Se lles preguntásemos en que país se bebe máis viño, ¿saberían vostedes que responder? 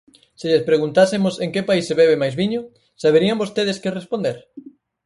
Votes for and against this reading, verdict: 4, 0, accepted